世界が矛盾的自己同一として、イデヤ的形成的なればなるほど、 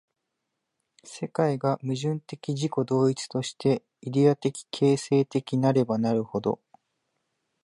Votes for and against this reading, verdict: 3, 0, accepted